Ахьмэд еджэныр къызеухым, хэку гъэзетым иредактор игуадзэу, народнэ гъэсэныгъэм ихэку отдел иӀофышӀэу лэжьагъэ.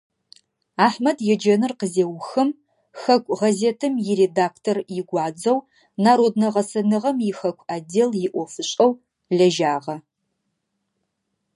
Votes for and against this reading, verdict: 2, 0, accepted